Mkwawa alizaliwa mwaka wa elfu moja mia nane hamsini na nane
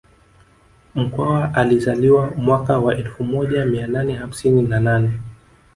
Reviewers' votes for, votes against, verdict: 1, 2, rejected